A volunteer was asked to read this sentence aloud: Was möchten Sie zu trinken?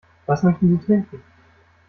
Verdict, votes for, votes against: rejected, 0, 2